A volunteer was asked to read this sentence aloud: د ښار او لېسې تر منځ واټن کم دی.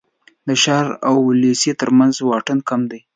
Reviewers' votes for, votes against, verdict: 2, 0, accepted